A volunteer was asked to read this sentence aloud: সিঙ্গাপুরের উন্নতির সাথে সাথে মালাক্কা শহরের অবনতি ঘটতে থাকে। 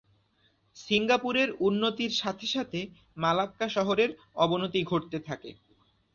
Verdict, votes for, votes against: accepted, 4, 0